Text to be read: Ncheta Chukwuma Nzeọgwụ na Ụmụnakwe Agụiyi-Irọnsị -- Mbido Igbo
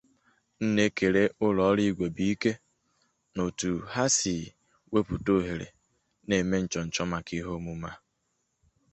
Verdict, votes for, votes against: rejected, 0, 2